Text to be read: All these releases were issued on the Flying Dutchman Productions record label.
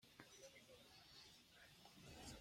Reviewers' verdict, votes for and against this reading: rejected, 0, 2